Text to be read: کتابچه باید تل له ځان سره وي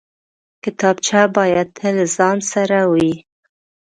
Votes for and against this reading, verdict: 6, 0, accepted